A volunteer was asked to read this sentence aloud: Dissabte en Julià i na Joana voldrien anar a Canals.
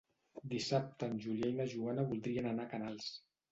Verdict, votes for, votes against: rejected, 1, 2